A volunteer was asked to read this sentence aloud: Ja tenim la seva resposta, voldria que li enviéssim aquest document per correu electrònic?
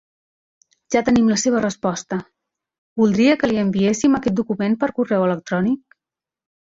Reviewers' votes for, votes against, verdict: 3, 0, accepted